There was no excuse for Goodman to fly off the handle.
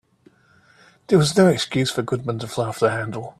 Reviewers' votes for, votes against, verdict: 2, 0, accepted